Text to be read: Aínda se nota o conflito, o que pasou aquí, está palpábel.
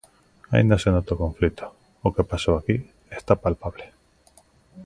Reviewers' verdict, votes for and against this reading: rejected, 1, 2